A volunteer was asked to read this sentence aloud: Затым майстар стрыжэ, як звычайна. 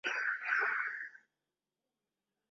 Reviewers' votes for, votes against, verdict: 0, 2, rejected